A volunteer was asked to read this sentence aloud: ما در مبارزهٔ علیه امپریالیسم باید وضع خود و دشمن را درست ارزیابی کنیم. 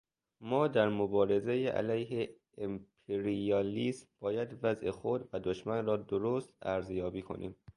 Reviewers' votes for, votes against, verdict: 1, 2, rejected